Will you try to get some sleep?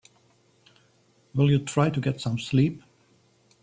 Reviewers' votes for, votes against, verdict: 2, 1, accepted